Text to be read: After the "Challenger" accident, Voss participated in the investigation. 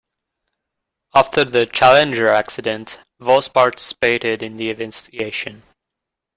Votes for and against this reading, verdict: 2, 1, accepted